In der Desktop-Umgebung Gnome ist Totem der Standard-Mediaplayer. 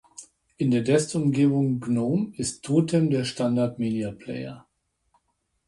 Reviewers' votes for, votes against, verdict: 1, 2, rejected